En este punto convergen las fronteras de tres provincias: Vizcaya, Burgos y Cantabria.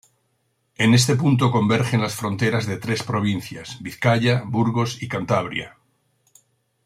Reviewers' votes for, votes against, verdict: 2, 0, accepted